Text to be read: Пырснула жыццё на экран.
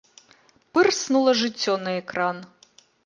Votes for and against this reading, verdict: 2, 0, accepted